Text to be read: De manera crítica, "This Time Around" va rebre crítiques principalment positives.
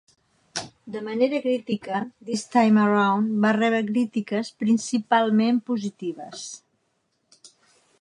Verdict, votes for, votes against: rejected, 0, 2